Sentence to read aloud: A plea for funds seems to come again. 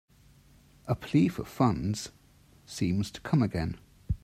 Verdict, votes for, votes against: accepted, 2, 0